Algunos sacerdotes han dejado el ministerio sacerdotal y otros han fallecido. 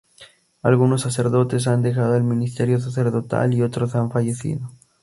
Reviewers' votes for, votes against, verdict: 2, 0, accepted